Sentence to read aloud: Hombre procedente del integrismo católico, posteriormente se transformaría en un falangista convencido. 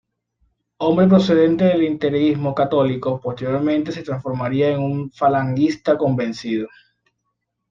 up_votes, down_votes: 2, 0